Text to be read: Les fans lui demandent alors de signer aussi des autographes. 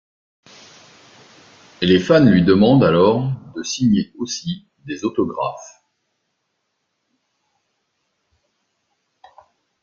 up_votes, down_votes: 2, 0